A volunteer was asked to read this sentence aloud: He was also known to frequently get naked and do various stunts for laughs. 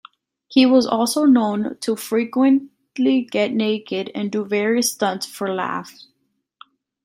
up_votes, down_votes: 2, 0